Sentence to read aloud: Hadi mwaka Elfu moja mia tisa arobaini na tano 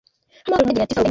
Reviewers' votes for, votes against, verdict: 0, 2, rejected